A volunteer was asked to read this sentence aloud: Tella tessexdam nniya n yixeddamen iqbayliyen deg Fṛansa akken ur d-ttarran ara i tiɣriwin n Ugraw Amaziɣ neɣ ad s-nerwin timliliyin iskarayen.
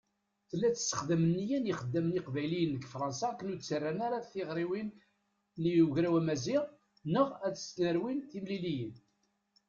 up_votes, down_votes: 0, 2